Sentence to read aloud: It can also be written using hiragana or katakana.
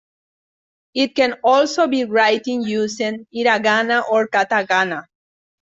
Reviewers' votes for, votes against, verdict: 0, 3, rejected